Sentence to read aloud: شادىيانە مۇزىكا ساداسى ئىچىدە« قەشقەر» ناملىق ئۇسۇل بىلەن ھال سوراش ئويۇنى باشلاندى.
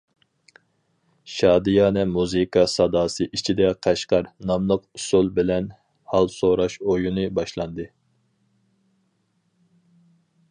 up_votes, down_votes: 6, 0